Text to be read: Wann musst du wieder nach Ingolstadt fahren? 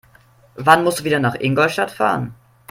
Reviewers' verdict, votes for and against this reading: accepted, 2, 0